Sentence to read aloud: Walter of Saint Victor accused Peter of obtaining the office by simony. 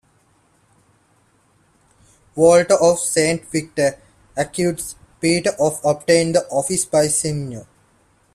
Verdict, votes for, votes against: rejected, 1, 2